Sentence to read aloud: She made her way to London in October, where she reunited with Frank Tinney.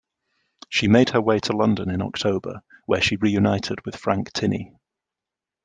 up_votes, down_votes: 2, 0